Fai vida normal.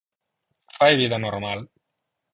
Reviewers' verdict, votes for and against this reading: accepted, 4, 0